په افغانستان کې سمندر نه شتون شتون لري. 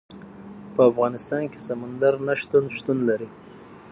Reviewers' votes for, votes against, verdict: 6, 3, accepted